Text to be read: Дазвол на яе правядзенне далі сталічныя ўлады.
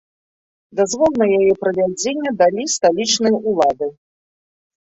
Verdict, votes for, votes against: rejected, 1, 2